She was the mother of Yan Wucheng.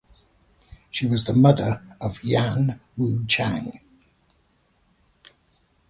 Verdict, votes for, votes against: accepted, 2, 0